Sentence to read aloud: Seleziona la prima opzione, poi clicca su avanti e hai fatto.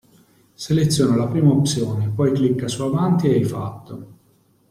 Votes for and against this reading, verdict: 2, 0, accepted